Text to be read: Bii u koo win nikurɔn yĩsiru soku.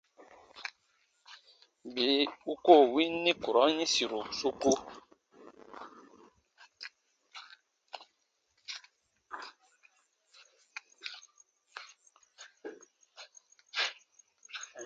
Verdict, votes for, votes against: accepted, 2, 0